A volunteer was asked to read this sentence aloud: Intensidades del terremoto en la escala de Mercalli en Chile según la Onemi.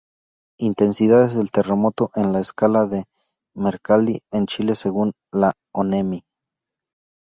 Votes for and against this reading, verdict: 2, 0, accepted